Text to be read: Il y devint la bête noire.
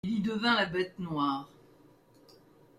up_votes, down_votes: 1, 2